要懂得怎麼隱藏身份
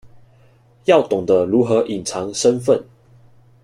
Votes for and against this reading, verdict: 0, 2, rejected